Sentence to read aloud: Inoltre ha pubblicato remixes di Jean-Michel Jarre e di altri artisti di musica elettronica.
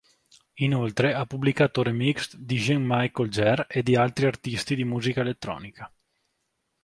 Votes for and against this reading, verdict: 1, 2, rejected